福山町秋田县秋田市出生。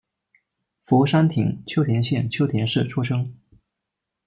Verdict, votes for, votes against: accepted, 2, 1